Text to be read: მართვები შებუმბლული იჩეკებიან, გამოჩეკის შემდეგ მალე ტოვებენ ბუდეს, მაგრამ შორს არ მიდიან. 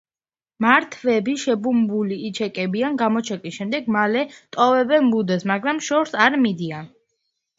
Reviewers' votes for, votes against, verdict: 1, 2, rejected